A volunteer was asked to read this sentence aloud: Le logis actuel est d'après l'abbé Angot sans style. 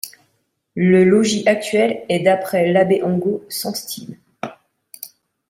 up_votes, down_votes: 2, 0